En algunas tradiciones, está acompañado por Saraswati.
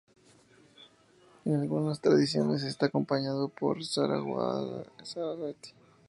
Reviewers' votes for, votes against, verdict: 0, 2, rejected